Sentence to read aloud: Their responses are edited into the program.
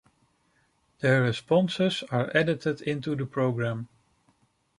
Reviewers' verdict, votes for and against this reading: accepted, 2, 0